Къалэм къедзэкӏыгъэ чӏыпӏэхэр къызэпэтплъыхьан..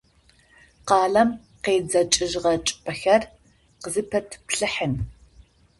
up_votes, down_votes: 0, 2